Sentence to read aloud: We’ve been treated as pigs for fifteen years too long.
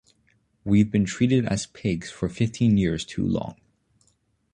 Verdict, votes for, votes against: accepted, 2, 0